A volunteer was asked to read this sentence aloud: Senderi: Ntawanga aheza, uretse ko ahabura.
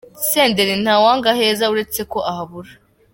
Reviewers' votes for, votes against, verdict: 2, 1, accepted